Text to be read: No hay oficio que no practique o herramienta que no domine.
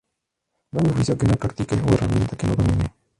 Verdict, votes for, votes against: rejected, 0, 2